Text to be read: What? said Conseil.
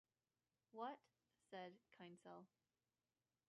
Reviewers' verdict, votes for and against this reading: rejected, 1, 2